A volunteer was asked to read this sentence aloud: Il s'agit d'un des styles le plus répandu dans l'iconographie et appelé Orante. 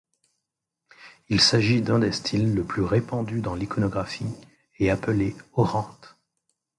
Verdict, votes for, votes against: accepted, 2, 0